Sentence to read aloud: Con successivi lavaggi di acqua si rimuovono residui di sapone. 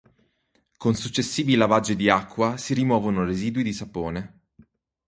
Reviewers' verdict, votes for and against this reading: accepted, 4, 0